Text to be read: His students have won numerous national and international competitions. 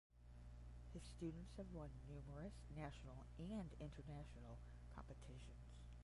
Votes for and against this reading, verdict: 10, 5, accepted